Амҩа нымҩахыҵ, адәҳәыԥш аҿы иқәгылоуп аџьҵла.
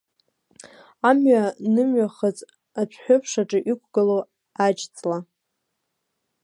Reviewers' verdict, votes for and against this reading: rejected, 1, 2